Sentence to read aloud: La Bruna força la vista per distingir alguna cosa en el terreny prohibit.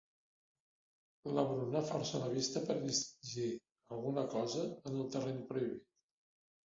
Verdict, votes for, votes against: accepted, 2, 0